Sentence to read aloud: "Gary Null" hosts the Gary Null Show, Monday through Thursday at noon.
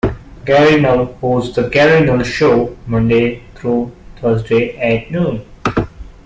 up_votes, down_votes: 2, 0